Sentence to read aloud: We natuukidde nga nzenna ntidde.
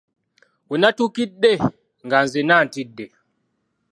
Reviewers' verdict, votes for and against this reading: accepted, 2, 0